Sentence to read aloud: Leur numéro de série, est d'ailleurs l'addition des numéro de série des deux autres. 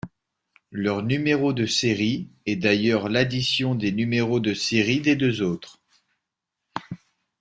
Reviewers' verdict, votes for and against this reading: accepted, 2, 0